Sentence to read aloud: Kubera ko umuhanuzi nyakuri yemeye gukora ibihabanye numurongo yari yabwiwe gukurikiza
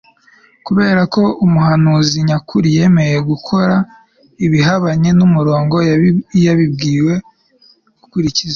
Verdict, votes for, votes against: rejected, 1, 2